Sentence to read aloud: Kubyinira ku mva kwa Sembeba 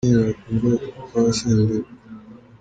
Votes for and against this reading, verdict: 1, 2, rejected